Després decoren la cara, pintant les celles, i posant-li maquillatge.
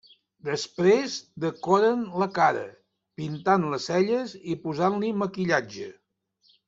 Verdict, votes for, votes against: accepted, 3, 0